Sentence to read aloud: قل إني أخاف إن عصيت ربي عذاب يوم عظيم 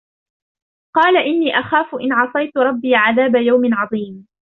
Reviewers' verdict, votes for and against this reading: rejected, 1, 2